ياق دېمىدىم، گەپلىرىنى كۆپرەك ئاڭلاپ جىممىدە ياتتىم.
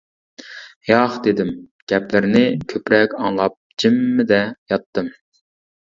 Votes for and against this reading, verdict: 0, 2, rejected